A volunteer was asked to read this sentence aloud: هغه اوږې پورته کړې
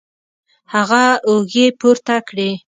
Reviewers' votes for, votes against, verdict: 2, 0, accepted